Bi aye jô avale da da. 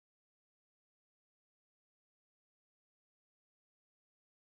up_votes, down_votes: 0, 2